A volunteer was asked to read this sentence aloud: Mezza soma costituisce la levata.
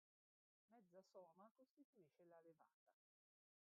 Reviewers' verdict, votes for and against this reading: rejected, 0, 2